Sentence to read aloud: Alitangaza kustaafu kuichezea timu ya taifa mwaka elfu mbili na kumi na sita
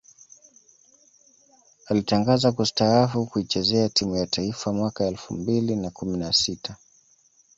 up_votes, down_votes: 2, 0